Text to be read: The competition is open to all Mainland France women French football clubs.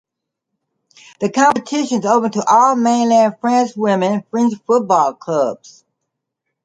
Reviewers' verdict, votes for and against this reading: accepted, 2, 0